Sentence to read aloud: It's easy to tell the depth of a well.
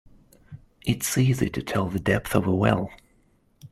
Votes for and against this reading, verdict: 2, 0, accepted